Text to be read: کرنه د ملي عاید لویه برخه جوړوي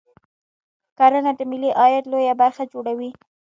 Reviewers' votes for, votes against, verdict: 1, 2, rejected